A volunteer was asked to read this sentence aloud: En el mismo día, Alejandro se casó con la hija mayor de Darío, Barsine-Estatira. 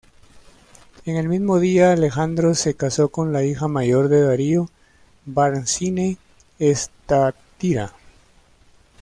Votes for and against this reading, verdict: 1, 2, rejected